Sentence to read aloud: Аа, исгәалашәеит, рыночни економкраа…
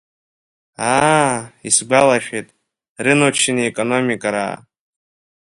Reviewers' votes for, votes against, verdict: 0, 2, rejected